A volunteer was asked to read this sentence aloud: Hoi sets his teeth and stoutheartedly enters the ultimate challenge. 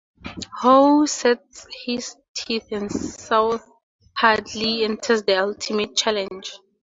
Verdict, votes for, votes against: rejected, 0, 2